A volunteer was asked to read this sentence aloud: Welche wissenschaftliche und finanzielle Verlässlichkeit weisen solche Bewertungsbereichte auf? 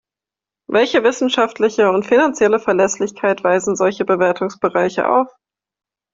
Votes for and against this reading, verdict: 1, 2, rejected